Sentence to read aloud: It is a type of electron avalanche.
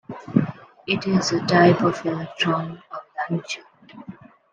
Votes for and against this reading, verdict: 0, 2, rejected